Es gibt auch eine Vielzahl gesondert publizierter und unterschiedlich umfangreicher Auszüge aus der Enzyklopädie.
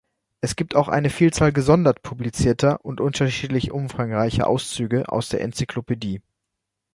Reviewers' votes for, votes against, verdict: 2, 0, accepted